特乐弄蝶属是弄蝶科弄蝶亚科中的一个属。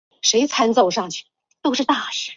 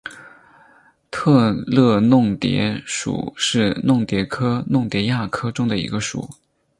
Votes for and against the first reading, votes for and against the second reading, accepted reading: 1, 5, 4, 0, second